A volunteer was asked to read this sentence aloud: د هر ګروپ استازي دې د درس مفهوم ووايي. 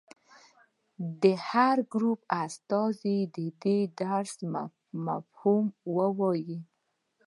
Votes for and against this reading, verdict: 2, 0, accepted